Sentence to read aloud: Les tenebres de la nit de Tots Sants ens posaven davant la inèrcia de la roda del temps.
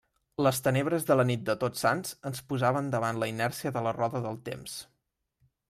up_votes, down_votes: 3, 0